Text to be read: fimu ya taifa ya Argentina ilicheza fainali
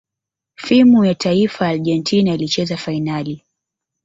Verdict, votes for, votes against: rejected, 1, 2